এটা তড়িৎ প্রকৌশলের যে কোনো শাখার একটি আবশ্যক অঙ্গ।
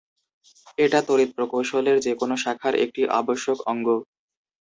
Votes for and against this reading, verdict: 2, 0, accepted